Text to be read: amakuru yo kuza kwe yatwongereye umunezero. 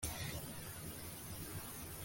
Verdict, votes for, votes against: rejected, 0, 2